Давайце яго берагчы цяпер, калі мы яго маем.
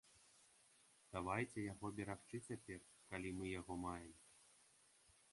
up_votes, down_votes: 2, 0